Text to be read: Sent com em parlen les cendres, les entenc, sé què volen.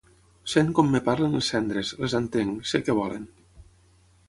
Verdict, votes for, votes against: rejected, 3, 6